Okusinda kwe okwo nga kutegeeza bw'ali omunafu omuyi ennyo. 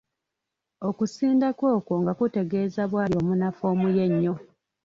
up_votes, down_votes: 2, 0